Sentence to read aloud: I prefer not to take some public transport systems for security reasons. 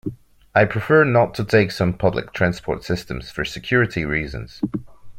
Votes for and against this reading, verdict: 2, 1, accepted